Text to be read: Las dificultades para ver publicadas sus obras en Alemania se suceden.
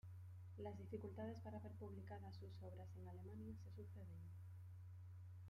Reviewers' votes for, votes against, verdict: 1, 2, rejected